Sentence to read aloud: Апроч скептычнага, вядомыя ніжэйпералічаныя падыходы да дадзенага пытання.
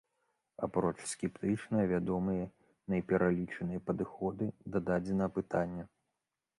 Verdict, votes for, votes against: rejected, 0, 2